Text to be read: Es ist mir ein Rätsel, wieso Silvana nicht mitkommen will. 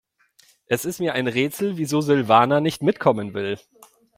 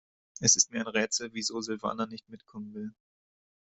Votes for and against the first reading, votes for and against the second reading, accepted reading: 2, 0, 0, 2, first